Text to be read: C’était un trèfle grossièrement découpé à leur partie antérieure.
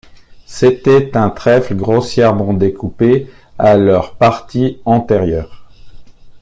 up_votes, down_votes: 2, 0